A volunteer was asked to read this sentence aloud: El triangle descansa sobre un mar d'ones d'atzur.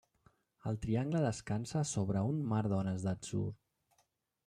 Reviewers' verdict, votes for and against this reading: rejected, 0, 2